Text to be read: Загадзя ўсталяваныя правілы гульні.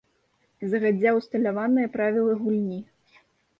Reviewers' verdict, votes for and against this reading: accepted, 2, 1